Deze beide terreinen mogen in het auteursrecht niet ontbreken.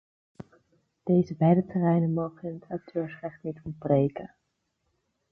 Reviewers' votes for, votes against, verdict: 0, 2, rejected